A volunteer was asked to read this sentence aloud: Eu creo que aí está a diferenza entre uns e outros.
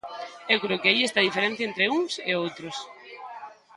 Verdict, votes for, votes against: rejected, 0, 2